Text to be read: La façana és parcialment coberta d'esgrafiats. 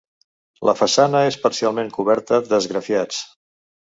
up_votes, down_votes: 3, 0